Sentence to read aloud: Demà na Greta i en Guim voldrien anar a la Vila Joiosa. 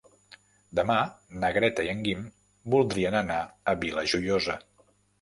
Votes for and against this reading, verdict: 0, 3, rejected